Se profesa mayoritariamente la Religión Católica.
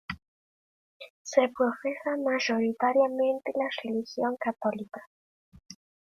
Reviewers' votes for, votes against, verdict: 1, 2, rejected